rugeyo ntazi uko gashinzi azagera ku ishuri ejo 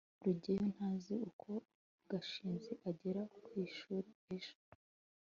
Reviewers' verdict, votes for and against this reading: accepted, 2, 1